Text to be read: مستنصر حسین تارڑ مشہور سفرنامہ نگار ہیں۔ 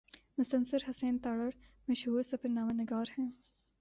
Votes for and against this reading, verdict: 3, 0, accepted